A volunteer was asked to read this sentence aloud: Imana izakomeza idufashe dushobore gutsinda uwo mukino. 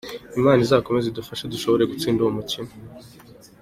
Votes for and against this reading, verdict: 2, 0, accepted